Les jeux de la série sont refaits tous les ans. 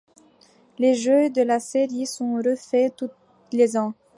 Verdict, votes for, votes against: accepted, 2, 0